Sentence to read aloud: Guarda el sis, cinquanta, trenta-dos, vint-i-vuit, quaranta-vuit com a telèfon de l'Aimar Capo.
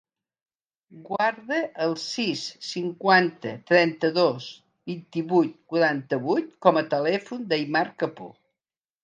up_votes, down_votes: 1, 2